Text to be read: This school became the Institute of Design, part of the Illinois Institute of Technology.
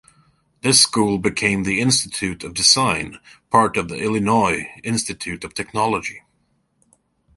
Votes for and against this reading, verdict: 2, 0, accepted